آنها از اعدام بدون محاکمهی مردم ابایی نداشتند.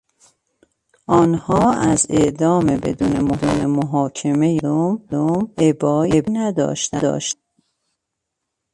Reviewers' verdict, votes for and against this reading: rejected, 0, 2